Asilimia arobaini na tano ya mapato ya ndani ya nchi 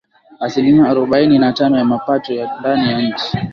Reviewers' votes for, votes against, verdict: 10, 3, accepted